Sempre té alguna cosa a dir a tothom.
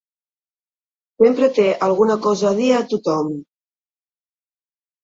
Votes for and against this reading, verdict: 1, 2, rejected